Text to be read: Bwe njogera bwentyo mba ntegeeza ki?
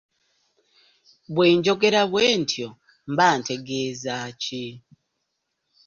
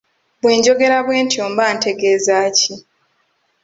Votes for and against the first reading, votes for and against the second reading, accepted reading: 2, 0, 1, 2, first